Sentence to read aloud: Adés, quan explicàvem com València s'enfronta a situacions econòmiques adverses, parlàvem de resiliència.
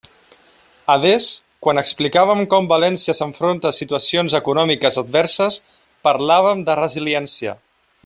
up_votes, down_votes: 2, 0